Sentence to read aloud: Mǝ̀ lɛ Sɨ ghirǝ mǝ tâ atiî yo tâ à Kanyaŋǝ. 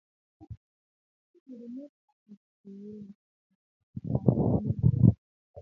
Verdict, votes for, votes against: rejected, 1, 2